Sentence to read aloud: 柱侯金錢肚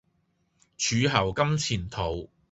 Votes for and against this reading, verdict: 2, 0, accepted